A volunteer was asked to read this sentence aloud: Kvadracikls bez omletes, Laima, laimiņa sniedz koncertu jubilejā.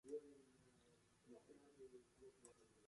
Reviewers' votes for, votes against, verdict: 0, 2, rejected